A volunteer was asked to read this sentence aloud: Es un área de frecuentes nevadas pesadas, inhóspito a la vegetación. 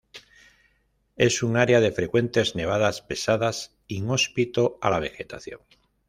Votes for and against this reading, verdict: 2, 0, accepted